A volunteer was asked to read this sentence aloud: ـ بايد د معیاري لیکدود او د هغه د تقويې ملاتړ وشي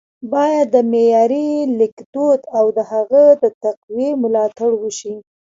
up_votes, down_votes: 1, 2